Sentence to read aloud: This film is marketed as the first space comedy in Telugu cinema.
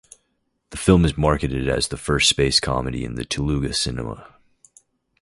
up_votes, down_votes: 0, 2